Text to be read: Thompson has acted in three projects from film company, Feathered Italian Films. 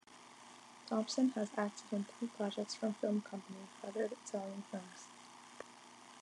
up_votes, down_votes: 2, 1